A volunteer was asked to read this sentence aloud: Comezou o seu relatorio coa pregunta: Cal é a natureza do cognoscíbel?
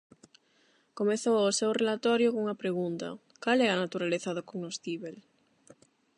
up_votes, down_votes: 0, 8